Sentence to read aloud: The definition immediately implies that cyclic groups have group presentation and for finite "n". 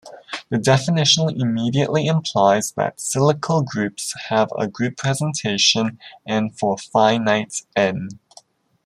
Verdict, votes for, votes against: rejected, 1, 2